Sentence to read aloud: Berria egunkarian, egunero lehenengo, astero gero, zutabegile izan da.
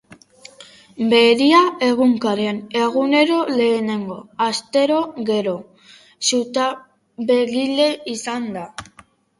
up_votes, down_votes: 0, 3